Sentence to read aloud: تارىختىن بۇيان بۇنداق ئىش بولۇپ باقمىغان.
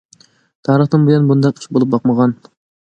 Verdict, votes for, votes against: rejected, 1, 2